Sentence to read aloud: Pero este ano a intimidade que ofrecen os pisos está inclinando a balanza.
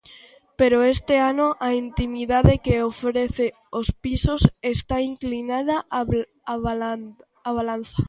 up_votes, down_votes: 0, 2